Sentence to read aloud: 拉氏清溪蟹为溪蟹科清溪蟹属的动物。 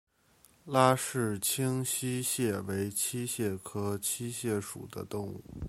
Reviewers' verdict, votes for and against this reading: rejected, 1, 2